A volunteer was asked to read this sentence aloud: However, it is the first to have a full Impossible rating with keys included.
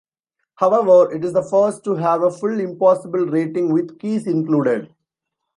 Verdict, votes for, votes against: accepted, 2, 0